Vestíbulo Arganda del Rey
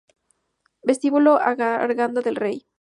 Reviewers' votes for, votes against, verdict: 0, 2, rejected